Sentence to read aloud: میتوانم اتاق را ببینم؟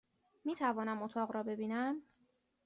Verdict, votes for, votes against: accepted, 2, 0